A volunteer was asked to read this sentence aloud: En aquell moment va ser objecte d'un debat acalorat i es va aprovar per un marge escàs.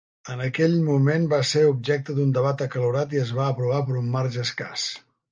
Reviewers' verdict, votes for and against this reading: accepted, 3, 0